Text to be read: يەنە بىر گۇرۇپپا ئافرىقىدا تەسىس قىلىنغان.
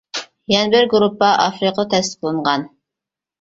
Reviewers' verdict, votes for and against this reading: rejected, 0, 2